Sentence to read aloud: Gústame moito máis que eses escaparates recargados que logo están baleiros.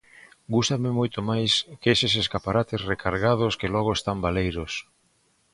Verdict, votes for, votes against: accepted, 2, 0